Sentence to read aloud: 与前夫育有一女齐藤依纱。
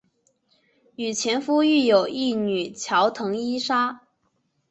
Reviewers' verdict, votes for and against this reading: rejected, 2, 2